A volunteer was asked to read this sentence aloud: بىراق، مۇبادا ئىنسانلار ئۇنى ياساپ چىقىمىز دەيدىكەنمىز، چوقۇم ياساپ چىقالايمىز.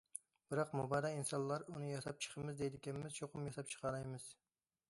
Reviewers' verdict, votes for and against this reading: accepted, 2, 0